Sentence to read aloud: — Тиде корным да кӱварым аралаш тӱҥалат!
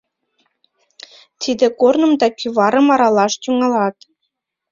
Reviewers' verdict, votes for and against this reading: accepted, 2, 0